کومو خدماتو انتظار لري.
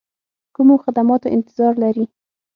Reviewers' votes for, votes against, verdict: 6, 0, accepted